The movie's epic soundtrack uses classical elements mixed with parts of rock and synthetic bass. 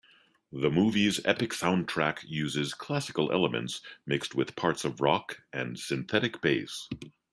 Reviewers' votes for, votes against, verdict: 2, 0, accepted